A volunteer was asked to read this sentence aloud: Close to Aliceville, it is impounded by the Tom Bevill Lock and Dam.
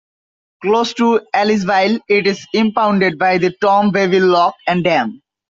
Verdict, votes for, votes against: rejected, 1, 2